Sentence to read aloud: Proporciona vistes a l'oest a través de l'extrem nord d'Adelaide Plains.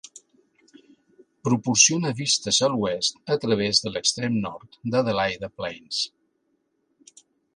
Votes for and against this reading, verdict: 2, 0, accepted